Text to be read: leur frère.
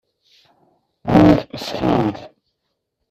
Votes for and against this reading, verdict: 0, 2, rejected